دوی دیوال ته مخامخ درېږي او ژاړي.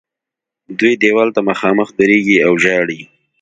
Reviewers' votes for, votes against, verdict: 2, 0, accepted